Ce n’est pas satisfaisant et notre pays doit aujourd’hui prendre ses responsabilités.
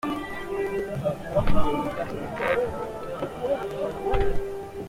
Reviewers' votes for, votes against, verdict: 0, 2, rejected